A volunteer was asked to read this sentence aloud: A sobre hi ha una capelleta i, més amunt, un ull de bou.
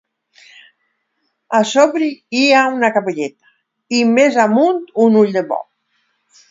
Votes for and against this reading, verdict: 0, 2, rejected